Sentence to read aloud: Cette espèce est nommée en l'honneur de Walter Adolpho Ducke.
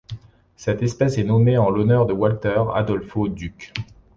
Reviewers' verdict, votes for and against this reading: accepted, 2, 1